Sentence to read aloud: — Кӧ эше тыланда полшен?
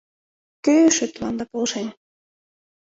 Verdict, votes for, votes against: accepted, 2, 0